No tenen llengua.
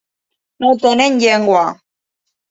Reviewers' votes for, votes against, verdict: 2, 0, accepted